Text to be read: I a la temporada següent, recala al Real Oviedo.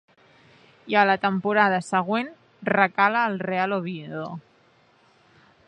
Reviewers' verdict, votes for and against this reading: accepted, 2, 0